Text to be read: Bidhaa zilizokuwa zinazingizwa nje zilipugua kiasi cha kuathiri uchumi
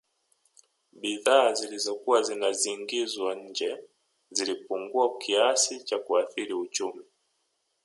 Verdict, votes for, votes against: accepted, 2, 0